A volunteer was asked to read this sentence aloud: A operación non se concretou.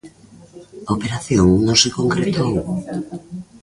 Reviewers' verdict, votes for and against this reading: rejected, 1, 2